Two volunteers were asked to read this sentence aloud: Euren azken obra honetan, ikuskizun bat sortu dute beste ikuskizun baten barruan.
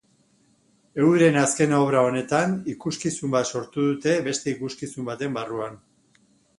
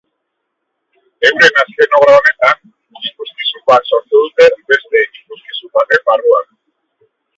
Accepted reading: first